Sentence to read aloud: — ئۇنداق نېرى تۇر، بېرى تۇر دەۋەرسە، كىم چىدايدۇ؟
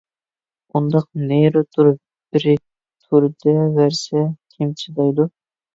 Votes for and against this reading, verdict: 0, 2, rejected